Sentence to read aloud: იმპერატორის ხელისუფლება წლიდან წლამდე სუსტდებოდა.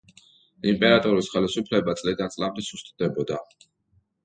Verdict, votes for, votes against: accepted, 2, 0